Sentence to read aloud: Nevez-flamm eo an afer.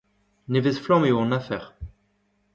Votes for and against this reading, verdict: 2, 0, accepted